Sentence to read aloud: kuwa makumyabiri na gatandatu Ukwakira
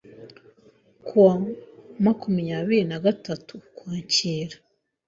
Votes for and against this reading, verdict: 0, 2, rejected